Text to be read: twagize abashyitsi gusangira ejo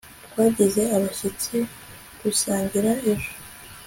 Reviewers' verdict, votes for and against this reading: accepted, 2, 0